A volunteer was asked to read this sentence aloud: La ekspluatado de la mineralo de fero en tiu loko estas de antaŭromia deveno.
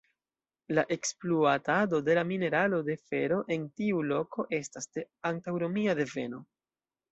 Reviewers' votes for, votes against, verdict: 0, 2, rejected